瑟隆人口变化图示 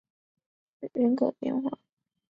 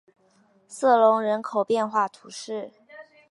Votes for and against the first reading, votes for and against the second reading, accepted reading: 0, 4, 2, 0, second